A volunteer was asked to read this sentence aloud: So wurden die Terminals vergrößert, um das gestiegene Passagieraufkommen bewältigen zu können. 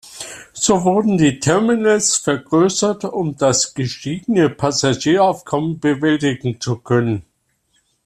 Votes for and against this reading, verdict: 2, 0, accepted